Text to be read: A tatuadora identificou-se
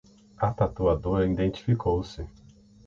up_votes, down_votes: 0, 6